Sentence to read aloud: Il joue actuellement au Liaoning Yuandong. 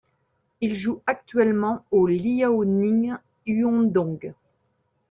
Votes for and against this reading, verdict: 1, 2, rejected